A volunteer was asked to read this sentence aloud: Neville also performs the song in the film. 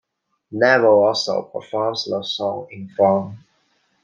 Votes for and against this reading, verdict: 1, 2, rejected